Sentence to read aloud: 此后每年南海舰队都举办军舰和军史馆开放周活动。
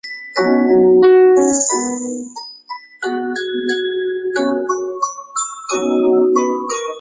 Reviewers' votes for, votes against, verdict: 0, 3, rejected